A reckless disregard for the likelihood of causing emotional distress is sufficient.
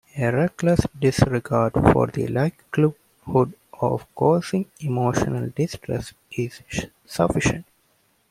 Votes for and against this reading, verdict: 2, 1, accepted